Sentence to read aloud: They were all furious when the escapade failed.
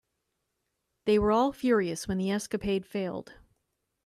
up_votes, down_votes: 2, 0